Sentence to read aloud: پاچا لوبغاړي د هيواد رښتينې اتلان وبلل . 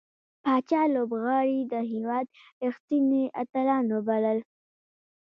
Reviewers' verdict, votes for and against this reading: rejected, 1, 2